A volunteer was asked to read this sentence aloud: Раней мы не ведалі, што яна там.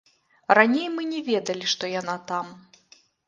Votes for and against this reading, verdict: 1, 2, rejected